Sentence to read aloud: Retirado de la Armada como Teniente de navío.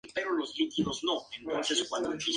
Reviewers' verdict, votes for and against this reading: rejected, 0, 2